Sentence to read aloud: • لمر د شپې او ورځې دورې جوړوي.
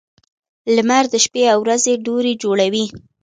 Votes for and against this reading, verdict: 2, 1, accepted